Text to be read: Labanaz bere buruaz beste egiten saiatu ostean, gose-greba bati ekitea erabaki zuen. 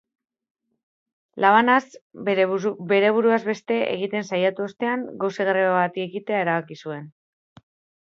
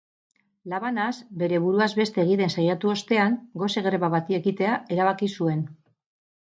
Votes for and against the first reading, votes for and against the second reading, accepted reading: 1, 2, 4, 0, second